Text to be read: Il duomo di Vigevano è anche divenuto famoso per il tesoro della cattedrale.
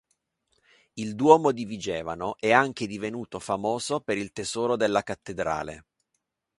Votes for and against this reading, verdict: 3, 0, accepted